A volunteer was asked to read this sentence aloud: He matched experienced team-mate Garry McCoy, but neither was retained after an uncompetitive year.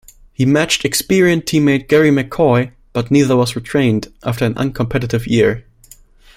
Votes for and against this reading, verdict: 2, 1, accepted